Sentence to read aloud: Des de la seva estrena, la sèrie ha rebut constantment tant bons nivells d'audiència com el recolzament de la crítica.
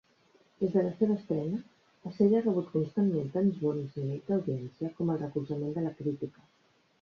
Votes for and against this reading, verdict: 1, 2, rejected